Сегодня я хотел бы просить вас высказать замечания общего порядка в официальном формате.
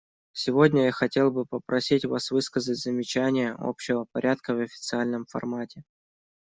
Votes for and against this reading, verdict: 1, 2, rejected